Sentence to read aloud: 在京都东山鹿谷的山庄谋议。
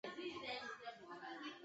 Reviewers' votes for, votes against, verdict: 0, 3, rejected